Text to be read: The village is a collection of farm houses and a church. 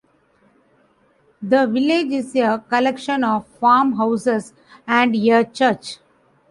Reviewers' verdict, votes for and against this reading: rejected, 0, 2